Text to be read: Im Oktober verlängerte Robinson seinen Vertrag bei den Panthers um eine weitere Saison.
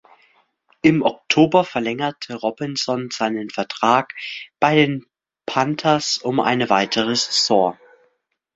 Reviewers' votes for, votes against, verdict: 2, 0, accepted